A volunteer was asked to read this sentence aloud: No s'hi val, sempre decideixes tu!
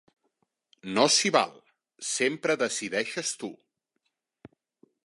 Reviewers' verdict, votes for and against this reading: accepted, 4, 1